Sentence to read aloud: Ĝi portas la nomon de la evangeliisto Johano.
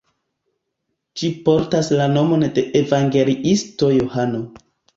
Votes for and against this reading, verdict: 2, 0, accepted